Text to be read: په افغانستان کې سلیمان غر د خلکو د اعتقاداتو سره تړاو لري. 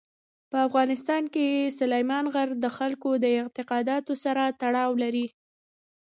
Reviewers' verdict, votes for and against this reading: rejected, 1, 2